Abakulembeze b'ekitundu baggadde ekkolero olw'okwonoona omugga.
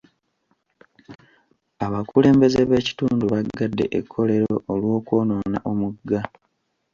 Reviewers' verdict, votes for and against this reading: accepted, 2, 0